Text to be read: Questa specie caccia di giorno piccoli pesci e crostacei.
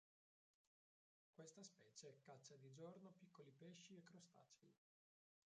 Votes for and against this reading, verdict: 1, 3, rejected